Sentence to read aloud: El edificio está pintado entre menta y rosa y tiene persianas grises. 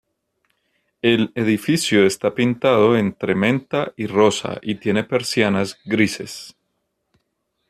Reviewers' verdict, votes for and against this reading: accepted, 2, 0